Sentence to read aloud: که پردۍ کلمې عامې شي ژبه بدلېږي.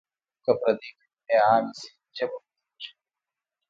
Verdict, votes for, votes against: accepted, 2, 1